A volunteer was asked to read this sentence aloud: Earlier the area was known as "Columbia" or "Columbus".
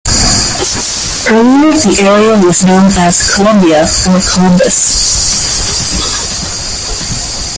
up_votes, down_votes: 0, 2